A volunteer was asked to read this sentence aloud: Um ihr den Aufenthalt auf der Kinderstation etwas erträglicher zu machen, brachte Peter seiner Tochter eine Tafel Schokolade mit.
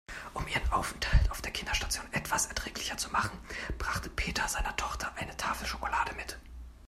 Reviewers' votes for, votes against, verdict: 1, 2, rejected